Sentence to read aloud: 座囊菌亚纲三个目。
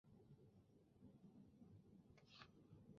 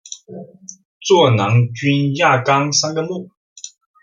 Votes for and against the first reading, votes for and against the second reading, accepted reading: 0, 2, 2, 0, second